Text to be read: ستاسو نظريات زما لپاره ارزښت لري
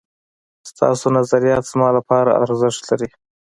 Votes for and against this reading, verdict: 3, 0, accepted